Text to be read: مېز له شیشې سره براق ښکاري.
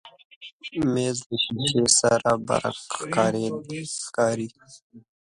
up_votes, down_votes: 0, 2